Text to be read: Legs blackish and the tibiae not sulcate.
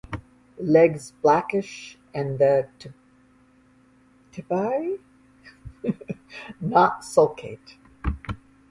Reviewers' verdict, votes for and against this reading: rejected, 0, 5